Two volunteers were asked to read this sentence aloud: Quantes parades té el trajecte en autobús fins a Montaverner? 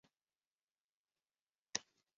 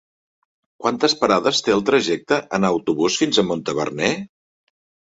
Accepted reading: second